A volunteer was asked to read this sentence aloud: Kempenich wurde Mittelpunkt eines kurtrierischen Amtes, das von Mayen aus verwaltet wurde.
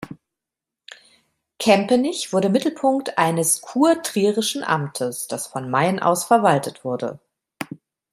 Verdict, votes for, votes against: accepted, 2, 0